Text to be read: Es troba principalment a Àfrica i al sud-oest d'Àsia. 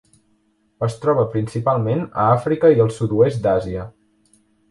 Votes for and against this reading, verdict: 2, 0, accepted